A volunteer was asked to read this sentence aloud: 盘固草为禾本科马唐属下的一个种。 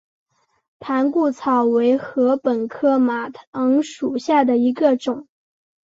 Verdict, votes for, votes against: accepted, 2, 0